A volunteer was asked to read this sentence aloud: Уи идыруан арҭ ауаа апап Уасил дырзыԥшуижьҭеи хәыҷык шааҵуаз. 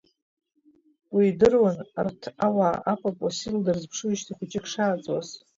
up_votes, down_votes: 1, 2